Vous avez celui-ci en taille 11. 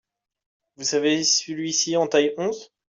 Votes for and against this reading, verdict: 0, 2, rejected